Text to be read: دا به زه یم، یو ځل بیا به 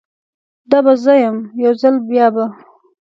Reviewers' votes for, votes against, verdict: 2, 0, accepted